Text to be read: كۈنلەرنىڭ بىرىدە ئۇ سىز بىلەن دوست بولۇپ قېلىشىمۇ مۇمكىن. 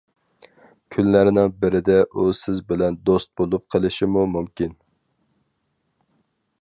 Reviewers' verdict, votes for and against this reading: accepted, 4, 0